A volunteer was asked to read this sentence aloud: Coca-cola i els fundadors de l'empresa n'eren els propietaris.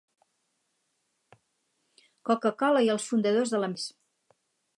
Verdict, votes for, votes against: rejected, 0, 4